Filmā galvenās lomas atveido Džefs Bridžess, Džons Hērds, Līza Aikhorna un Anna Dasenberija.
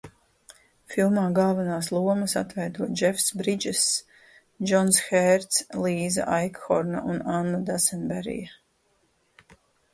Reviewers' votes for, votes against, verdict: 4, 0, accepted